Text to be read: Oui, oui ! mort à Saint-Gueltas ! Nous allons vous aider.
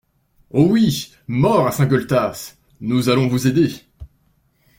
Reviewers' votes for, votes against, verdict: 1, 2, rejected